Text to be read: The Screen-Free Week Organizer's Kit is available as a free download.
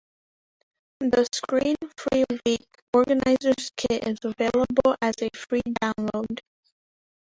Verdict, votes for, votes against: rejected, 1, 2